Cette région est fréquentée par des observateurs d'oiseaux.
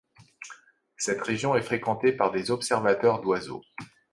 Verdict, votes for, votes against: accepted, 2, 0